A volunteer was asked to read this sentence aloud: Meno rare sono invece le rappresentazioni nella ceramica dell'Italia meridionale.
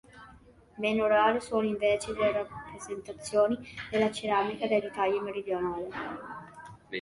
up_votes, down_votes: 2, 1